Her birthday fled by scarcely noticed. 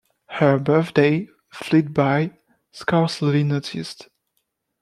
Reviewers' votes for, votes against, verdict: 2, 0, accepted